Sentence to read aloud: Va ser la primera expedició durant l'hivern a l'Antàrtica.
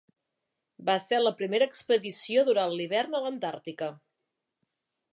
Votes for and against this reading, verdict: 2, 0, accepted